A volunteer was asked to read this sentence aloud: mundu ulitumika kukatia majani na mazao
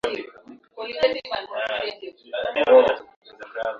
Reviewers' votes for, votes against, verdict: 0, 2, rejected